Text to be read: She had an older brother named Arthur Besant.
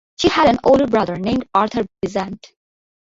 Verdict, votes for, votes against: accepted, 2, 0